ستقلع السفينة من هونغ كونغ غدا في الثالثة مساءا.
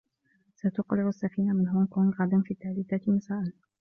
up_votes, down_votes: 2, 0